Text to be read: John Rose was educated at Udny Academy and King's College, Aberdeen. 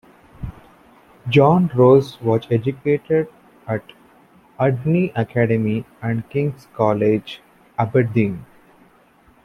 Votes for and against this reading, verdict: 2, 0, accepted